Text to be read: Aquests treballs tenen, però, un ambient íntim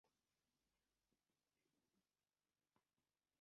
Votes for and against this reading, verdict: 0, 2, rejected